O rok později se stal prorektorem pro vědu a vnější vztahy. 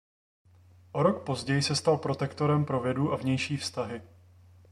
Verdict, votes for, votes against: rejected, 1, 2